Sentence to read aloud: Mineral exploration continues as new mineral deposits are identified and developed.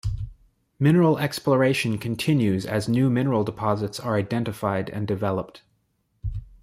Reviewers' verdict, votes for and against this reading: accepted, 2, 0